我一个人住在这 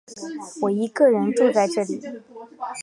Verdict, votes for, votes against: accepted, 5, 1